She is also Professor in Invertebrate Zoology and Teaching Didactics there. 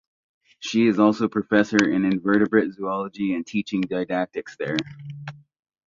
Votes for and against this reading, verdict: 2, 0, accepted